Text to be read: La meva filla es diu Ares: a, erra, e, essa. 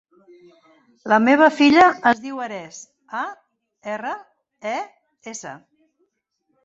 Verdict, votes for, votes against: rejected, 0, 2